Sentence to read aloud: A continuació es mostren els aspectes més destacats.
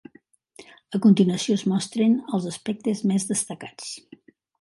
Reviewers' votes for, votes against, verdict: 3, 0, accepted